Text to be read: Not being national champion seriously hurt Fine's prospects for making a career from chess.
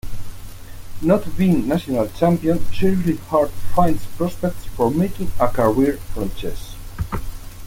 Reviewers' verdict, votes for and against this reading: accepted, 2, 0